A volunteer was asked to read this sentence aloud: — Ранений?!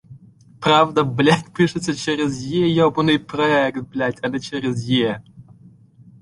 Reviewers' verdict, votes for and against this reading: rejected, 0, 2